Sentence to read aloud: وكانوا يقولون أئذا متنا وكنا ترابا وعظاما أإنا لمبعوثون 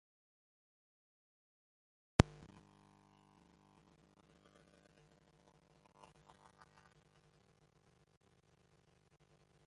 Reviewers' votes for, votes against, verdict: 0, 2, rejected